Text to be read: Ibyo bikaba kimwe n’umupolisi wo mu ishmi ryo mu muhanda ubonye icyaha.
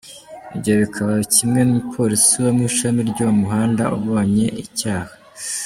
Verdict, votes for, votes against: rejected, 1, 2